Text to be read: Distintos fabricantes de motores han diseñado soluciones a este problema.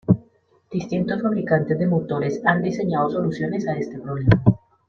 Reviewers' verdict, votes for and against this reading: accepted, 2, 1